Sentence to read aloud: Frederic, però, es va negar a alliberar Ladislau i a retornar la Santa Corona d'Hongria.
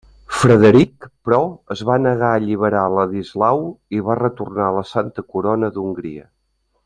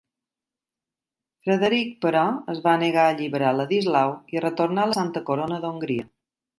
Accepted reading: second